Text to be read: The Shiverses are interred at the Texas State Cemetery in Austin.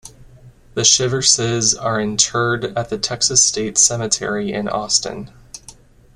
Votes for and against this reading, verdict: 2, 0, accepted